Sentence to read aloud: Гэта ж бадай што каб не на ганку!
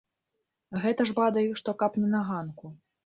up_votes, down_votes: 0, 2